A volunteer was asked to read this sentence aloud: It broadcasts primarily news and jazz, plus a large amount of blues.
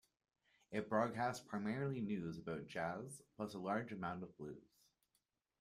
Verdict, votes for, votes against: accepted, 2, 0